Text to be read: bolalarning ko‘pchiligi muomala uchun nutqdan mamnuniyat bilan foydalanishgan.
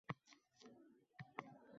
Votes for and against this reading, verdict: 0, 2, rejected